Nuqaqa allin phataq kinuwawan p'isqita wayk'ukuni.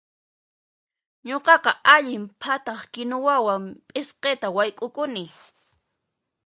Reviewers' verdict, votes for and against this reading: accepted, 2, 0